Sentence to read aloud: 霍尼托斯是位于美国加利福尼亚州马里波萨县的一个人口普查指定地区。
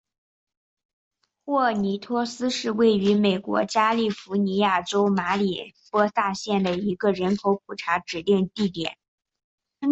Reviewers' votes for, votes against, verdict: 2, 0, accepted